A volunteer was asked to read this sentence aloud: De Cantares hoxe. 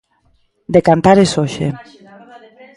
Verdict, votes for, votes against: accepted, 2, 0